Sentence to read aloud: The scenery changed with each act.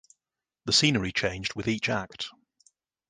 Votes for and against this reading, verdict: 2, 0, accepted